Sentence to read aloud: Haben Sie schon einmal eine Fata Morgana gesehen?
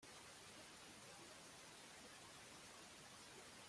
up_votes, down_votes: 0, 2